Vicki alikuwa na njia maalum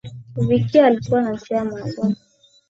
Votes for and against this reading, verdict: 4, 0, accepted